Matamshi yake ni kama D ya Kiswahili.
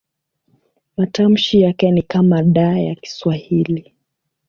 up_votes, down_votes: 3, 0